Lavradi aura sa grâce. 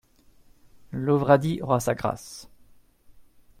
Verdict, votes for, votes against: rejected, 0, 2